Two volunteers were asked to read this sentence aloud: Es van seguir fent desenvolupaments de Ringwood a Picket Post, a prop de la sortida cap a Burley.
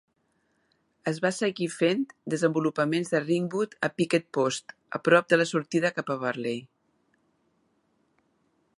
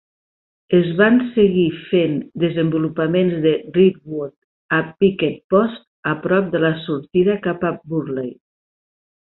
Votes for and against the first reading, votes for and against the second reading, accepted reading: 1, 2, 3, 0, second